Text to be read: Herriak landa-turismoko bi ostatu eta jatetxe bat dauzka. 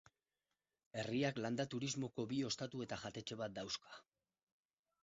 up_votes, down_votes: 2, 4